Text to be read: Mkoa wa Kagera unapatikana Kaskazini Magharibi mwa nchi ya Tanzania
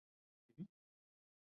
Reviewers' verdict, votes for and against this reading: accepted, 2, 1